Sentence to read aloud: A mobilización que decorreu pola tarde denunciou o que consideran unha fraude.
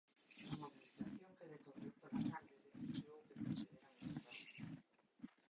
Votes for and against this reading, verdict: 0, 2, rejected